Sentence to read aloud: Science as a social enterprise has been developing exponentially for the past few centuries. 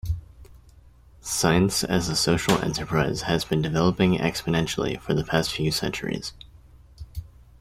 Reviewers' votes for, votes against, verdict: 2, 0, accepted